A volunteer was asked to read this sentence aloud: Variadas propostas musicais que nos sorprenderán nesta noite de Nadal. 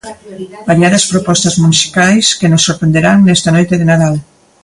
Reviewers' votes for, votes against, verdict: 1, 2, rejected